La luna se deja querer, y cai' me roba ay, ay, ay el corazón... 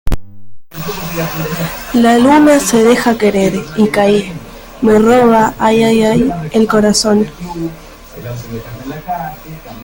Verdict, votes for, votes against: rejected, 1, 2